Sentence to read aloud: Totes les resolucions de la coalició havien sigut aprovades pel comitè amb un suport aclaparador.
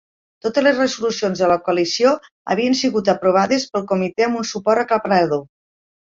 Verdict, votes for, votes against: rejected, 1, 2